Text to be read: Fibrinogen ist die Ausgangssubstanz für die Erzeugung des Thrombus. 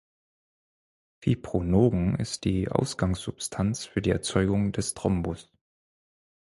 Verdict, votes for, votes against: rejected, 2, 4